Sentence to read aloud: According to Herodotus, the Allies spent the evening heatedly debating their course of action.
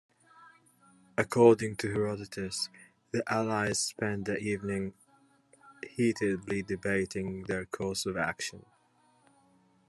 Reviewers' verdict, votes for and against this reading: rejected, 0, 2